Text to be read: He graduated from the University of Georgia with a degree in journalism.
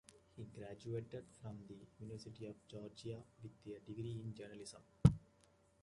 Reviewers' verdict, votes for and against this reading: rejected, 0, 2